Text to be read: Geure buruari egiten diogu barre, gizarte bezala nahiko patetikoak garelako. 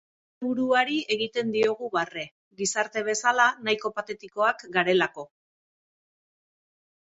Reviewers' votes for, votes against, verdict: 1, 3, rejected